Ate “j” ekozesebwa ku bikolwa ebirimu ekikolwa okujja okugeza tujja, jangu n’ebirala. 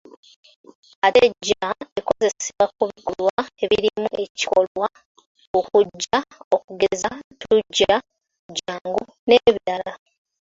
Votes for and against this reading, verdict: 2, 3, rejected